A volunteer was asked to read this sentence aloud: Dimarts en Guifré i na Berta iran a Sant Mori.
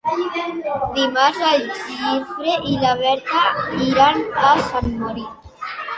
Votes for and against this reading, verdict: 0, 2, rejected